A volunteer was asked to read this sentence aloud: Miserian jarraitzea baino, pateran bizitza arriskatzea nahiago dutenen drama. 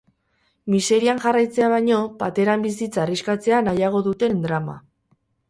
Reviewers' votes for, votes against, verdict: 0, 4, rejected